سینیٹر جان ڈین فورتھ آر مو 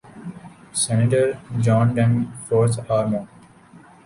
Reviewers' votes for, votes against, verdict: 2, 2, rejected